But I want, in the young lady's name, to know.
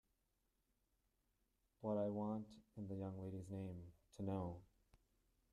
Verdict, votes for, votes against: accepted, 2, 1